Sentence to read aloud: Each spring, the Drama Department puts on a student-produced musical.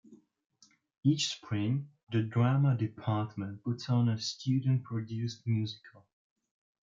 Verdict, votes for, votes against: accepted, 2, 0